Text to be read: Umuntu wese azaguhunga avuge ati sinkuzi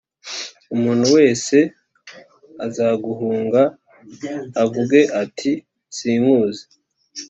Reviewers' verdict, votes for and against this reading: accepted, 3, 0